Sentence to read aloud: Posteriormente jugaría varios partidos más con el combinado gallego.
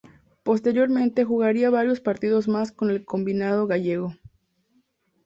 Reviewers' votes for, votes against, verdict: 2, 0, accepted